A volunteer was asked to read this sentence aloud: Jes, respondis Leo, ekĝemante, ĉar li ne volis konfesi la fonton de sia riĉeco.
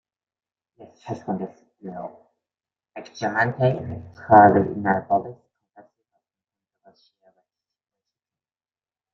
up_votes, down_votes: 0, 3